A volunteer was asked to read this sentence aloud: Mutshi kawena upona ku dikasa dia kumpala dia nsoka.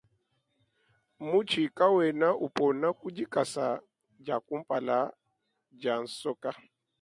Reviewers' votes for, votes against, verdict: 2, 0, accepted